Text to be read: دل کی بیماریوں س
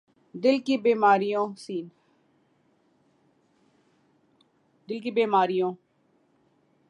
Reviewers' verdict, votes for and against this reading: rejected, 2, 2